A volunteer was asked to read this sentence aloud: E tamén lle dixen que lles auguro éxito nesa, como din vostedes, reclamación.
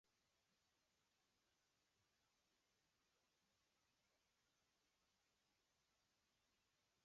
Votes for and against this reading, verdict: 0, 2, rejected